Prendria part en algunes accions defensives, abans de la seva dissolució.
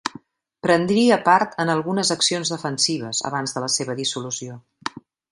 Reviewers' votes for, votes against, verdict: 3, 0, accepted